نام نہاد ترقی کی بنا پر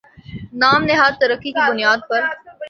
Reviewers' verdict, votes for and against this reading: rejected, 0, 2